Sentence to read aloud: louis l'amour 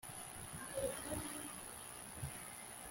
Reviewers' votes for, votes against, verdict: 0, 2, rejected